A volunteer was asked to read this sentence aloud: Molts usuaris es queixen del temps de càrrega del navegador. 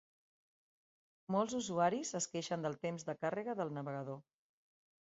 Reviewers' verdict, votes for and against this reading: accepted, 2, 0